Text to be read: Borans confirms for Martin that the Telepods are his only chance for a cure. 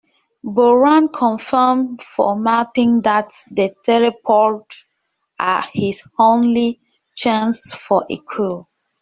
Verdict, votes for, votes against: rejected, 0, 2